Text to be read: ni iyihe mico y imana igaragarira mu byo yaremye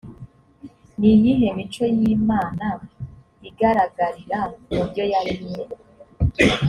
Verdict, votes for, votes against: accepted, 2, 0